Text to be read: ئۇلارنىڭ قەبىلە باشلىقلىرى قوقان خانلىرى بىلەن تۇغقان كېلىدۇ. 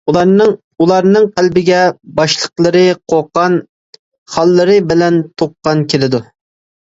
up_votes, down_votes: 0, 2